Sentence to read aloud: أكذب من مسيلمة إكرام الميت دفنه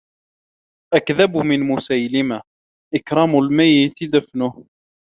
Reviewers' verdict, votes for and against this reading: accepted, 2, 0